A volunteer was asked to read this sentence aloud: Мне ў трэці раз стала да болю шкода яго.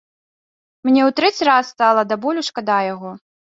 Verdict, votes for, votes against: accepted, 2, 1